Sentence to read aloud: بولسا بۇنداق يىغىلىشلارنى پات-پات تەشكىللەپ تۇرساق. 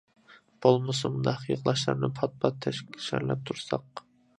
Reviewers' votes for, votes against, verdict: 0, 2, rejected